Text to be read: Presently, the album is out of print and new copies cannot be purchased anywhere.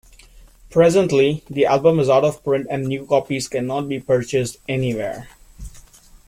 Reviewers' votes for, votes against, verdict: 2, 0, accepted